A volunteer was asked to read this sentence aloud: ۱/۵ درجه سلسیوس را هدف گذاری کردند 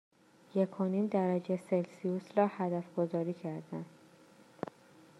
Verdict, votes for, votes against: rejected, 0, 2